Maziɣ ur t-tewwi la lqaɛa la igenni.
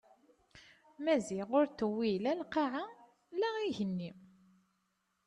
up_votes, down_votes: 2, 0